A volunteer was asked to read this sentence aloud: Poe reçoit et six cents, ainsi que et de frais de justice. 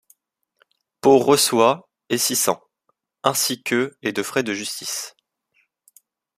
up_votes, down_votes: 2, 0